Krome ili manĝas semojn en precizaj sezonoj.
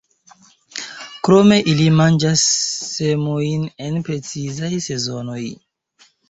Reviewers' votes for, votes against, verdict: 0, 2, rejected